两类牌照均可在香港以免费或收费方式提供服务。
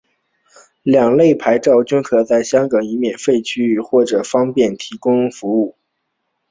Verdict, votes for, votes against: accepted, 3, 2